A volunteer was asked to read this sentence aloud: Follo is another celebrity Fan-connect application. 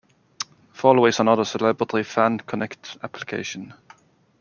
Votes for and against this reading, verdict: 2, 0, accepted